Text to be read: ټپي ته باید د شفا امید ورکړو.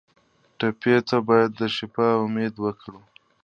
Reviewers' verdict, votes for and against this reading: accepted, 2, 1